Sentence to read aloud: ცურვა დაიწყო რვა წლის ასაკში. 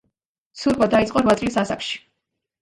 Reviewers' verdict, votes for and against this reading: accepted, 2, 1